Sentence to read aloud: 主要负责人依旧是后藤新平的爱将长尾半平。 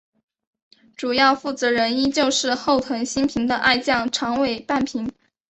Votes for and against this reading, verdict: 4, 2, accepted